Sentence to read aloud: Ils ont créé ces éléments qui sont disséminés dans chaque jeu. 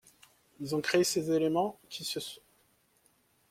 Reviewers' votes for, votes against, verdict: 0, 2, rejected